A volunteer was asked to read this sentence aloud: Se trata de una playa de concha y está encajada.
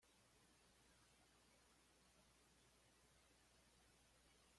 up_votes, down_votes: 1, 2